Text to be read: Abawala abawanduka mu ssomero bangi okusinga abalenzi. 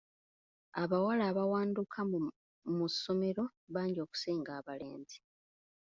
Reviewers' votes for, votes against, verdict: 2, 0, accepted